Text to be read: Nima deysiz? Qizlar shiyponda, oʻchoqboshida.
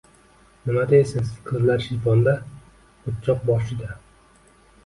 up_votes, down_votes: 2, 0